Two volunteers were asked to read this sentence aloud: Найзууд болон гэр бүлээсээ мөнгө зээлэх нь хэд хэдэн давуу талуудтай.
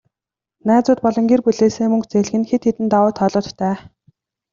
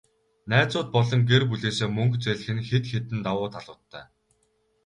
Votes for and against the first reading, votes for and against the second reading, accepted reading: 2, 0, 2, 2, first